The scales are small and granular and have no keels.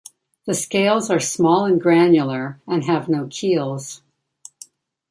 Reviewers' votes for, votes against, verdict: 1, 2, rejected